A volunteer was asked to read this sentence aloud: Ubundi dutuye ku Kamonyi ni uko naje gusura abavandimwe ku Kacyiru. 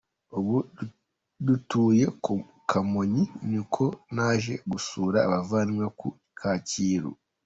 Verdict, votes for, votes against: accepted, 2, 1